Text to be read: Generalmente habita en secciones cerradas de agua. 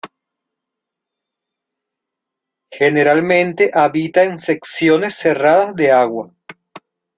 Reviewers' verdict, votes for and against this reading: accepted, 2, 0